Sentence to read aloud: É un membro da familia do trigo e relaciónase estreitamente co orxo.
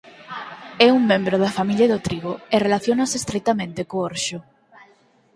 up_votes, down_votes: 2, 4